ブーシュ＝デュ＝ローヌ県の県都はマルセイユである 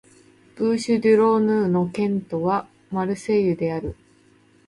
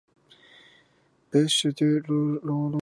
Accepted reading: first